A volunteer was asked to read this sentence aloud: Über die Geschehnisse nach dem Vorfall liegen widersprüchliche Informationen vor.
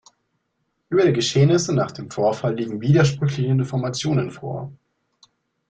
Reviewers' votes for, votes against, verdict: 2, 0, accepted